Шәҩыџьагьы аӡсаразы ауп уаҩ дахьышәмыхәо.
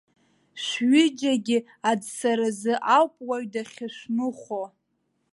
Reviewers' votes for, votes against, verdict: 0, 2, rejected